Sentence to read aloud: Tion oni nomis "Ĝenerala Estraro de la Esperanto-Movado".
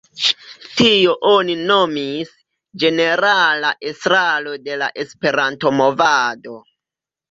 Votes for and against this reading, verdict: 0, 2, rejected